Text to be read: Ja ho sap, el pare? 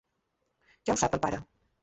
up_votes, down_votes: 3, 4